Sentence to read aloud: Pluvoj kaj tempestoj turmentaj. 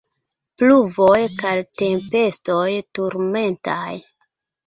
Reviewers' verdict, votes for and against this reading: rejected, 0, 2